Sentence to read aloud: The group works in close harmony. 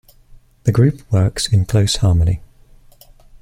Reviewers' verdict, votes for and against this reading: accepted, 2, 0